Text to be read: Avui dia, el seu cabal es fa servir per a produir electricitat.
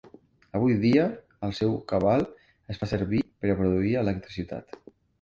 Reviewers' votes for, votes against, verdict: 2, 0, accepted